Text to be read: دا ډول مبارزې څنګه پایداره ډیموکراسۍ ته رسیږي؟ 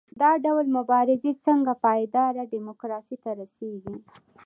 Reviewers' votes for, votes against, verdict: 2, 0, accepted